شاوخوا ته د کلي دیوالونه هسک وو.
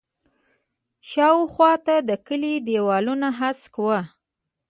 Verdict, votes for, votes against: rejected, 1, 2